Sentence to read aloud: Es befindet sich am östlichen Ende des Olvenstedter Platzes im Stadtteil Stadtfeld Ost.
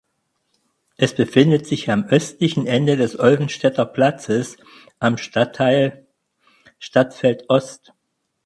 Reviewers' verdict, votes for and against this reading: rejected, 2, 4